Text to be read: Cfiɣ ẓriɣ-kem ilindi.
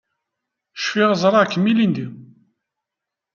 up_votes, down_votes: 2, 0